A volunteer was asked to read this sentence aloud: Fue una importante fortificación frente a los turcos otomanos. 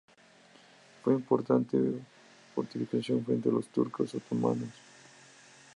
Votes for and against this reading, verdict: 0, 2, rejected